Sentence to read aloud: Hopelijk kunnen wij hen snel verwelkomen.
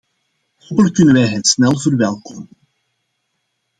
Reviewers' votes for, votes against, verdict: 1, 2, rejected